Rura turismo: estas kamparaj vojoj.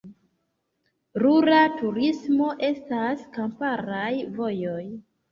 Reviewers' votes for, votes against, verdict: 2, 0, accepted